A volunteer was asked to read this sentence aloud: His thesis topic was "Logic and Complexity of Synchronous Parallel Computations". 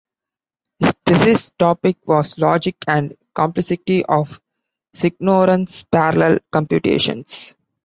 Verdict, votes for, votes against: rejected, 0, 2